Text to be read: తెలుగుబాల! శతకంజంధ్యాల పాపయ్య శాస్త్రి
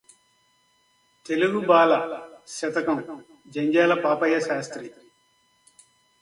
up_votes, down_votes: 2, 0